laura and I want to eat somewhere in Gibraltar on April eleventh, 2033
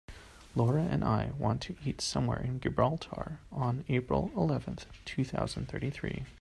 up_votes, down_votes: 0, 2